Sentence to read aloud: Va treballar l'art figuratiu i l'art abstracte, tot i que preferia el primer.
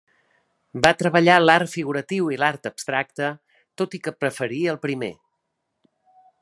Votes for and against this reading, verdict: 2, 0, accepted